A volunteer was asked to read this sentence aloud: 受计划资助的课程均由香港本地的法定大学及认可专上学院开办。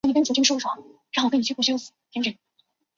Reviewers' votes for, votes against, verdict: 1, 5, rejected